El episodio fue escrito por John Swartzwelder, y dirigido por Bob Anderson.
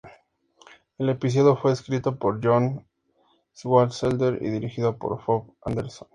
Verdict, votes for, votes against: accepted, 2, 0